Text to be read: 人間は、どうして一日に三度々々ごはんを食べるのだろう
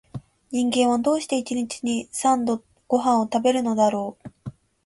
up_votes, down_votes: 3, 4